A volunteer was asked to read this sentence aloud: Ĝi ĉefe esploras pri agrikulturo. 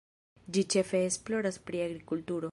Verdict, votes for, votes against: rejected, 1, 2